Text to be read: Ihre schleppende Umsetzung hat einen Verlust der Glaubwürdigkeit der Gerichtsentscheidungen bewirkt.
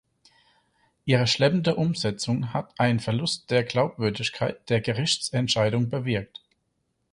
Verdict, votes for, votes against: rejected, 2, 4